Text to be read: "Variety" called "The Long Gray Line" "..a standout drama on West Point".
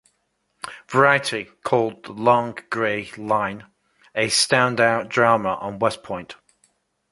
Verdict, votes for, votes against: accepted, 2, 0